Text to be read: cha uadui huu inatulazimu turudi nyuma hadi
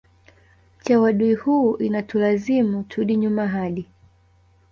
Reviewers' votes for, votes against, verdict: 1, 2, rejected